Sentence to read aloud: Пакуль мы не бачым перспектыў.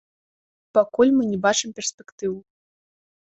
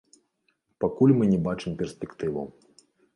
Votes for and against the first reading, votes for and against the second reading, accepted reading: 2, 0, 0, 2, first